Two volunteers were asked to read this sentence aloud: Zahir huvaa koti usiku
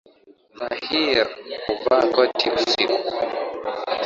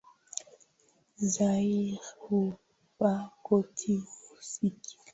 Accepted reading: first